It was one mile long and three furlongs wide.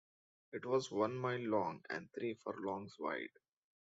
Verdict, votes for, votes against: accepted, 2, 0